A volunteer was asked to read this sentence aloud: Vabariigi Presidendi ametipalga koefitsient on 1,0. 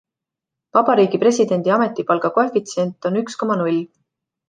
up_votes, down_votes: 0, 2